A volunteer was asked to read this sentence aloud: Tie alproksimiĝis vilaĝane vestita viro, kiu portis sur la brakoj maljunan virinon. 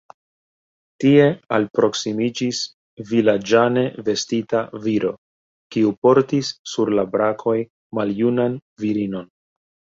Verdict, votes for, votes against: rejected, 0, 2